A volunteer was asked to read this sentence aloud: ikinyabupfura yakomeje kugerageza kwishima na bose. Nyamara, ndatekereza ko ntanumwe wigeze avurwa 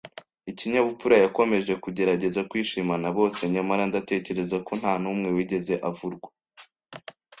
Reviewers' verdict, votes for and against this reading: accepted, 2, 0